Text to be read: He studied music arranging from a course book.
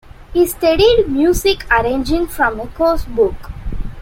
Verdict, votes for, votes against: accepted, 2, 0